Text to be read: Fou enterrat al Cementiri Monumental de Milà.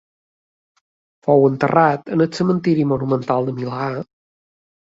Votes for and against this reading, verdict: 0, 2, rejected